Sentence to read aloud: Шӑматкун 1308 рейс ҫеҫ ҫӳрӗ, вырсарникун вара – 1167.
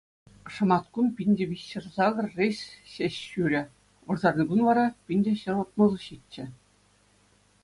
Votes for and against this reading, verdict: 0, 2, rejected